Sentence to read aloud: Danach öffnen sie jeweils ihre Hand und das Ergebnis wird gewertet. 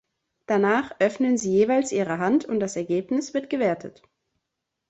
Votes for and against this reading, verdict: 2, 0, accepted